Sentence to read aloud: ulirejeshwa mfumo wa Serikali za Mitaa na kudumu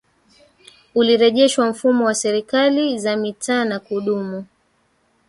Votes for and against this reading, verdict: 0, 3, rejected